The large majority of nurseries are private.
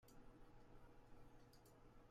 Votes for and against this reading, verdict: 0, 2, rejected